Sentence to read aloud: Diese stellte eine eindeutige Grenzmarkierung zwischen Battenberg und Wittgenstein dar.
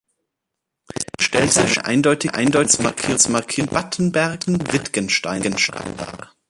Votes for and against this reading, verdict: 0, 2, rejected